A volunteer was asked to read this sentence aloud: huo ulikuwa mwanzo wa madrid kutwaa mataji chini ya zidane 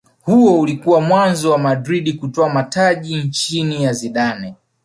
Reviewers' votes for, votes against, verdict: 1, 2, rejected